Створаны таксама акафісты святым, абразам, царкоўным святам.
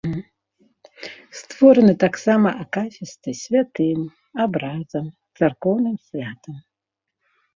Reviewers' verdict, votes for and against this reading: rejected, 1, 2